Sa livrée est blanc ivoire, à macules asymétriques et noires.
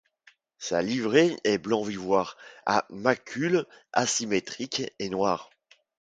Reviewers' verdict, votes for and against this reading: rejected, 0, 2